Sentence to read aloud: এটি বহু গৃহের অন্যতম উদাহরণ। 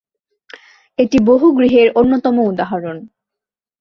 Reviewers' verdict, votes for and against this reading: accepted, 2, 0